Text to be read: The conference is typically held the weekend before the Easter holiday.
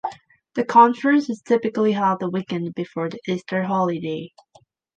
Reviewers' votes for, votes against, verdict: 2, 0, accepted